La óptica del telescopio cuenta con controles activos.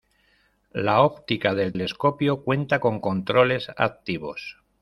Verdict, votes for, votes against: rejected, 1, 2